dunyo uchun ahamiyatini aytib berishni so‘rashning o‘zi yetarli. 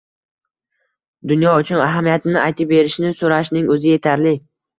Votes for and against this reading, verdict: 1, 2, rejected